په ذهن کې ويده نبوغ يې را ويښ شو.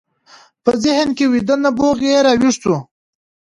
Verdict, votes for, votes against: accepted, 2, 1